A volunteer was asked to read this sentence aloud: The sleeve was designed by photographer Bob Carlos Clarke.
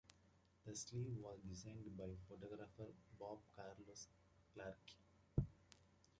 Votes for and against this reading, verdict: 1, 2, rejected